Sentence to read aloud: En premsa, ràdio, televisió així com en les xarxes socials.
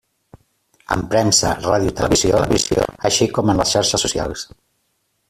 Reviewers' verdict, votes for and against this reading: rejected, 0, 2